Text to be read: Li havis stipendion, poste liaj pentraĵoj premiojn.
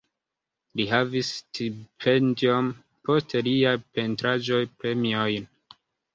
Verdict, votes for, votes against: accepted, 3, 0